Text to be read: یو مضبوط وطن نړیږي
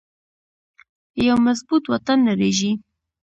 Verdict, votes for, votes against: accepted, 2, 0